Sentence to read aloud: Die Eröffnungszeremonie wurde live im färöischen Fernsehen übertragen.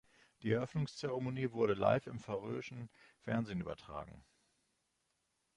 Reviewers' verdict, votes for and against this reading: accepted, 2, 0